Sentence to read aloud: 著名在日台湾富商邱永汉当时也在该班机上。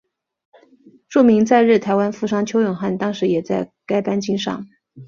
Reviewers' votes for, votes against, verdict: 3, 1, accepted